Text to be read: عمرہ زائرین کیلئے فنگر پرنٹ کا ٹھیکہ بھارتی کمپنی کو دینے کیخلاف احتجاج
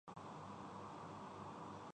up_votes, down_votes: 0, 3